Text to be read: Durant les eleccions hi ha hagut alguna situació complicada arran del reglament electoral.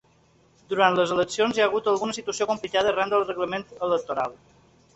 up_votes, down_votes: 3, 0